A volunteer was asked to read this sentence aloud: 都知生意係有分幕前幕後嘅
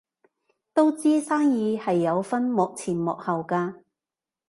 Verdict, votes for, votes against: rejected, 1, 2